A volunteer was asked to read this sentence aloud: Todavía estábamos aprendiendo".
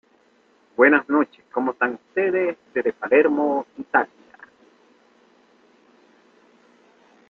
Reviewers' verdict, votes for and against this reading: rejected, 0, 2